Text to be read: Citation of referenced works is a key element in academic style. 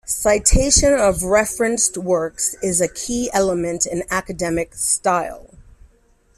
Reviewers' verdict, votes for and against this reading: accepted, 2, 1